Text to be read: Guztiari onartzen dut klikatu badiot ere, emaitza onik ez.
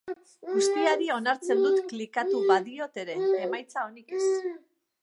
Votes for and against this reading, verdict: 0, 2, rejected